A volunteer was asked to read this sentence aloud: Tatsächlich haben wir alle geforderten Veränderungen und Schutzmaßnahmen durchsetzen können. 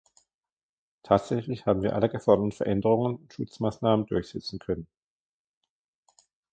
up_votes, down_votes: 1, 2